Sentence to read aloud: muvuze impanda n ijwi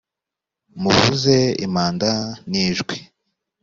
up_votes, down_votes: 2, 0